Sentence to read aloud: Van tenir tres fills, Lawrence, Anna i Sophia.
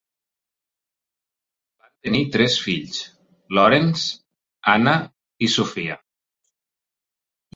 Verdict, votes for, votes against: rejected, 2, 4